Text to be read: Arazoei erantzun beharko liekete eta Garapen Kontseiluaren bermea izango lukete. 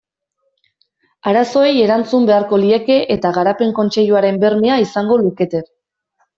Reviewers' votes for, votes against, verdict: 1, 2, rejected